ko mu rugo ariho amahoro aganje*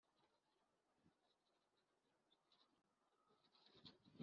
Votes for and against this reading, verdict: 0, 3, rejected